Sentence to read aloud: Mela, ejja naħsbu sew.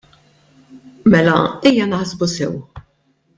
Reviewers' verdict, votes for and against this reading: accepted, 2, 0